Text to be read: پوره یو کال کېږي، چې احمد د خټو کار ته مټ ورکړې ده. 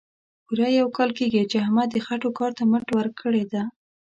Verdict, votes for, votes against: accepted, 2, 0